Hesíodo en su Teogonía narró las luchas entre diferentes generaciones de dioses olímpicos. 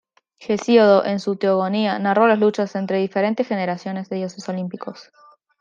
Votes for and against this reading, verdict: 1, 2, rejected